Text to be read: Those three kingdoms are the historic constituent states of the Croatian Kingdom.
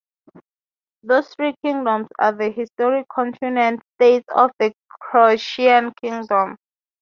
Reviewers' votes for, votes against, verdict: 0, 3, rejected